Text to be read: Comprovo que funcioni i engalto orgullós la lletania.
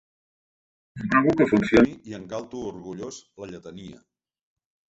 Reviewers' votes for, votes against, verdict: 0, 2, rejected